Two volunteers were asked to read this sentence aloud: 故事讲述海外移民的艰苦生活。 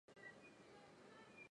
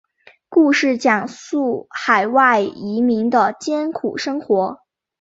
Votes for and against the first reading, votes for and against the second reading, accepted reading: 1, 2, 2, 0, second